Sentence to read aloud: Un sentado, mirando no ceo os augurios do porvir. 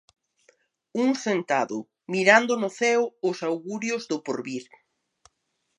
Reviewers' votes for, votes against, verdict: 2, 0, accepted